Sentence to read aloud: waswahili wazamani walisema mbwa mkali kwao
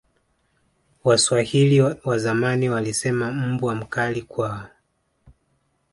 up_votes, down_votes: 1, 2